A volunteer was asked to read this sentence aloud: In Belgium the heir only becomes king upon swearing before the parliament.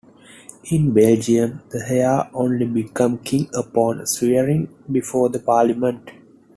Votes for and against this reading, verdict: 1, 2, rejected